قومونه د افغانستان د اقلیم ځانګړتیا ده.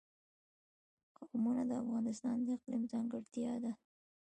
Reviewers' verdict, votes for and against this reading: accepted, 2, 0